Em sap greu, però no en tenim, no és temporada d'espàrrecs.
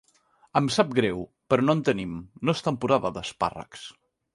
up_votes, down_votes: 2, 0